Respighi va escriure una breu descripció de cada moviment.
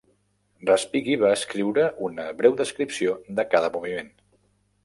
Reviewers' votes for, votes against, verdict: 3, 0, accepted